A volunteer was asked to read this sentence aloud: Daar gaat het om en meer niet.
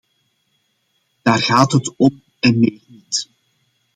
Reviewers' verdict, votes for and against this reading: rejected, 0, 2